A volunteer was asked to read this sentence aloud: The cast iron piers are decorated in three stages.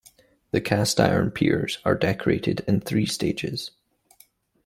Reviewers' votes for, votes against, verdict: 3, 0, accepted